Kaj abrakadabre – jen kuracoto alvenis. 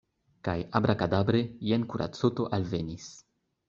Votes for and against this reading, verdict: 2, 0, accepted